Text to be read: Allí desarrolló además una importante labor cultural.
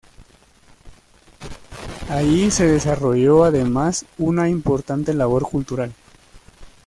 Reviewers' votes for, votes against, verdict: 0, 2, rejected